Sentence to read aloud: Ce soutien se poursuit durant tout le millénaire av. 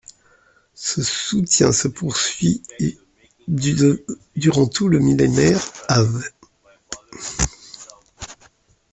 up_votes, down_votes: 1, 2